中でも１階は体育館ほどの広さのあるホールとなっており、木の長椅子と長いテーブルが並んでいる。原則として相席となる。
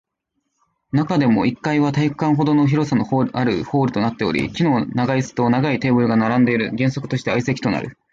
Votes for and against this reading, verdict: 0, 2, rejected